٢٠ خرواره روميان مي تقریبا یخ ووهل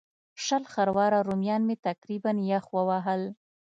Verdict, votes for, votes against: rejected, 0, 2